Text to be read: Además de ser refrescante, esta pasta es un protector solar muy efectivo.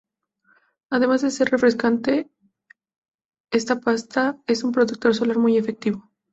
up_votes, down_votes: 2, 0